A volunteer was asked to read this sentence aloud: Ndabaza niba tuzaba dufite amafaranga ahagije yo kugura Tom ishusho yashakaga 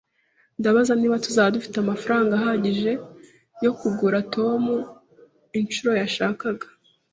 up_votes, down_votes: 0, 2